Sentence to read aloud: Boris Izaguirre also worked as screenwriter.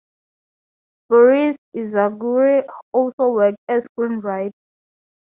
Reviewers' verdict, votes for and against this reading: rejected, 0, 4